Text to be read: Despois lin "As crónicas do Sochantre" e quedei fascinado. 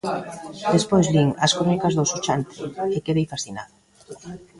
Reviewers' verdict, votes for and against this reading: rejected, 1, 2